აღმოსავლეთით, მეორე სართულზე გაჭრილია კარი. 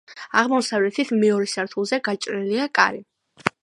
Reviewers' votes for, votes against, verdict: 2, 0, accepted